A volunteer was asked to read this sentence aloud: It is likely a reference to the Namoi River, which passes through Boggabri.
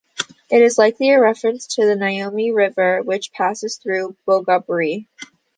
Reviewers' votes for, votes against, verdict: 0, 2, rejected